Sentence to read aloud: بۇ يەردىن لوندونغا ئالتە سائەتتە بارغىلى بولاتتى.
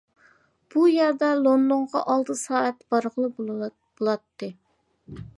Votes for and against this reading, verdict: 0, 2, rejected